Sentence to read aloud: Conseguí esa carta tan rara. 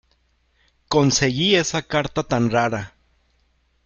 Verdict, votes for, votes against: accepted, 2, 0